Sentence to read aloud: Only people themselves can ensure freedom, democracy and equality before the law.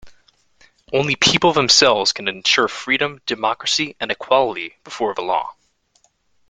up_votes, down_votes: 2, 0